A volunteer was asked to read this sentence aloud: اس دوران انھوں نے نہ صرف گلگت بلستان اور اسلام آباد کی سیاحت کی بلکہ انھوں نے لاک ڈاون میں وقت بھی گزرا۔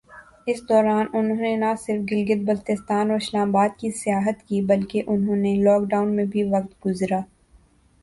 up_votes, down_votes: 3, 0